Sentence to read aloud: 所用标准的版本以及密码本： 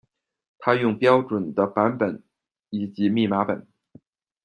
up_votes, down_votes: 0, 2